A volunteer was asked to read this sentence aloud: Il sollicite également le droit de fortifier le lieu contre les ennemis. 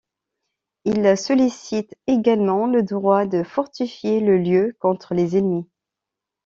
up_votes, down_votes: 2, 0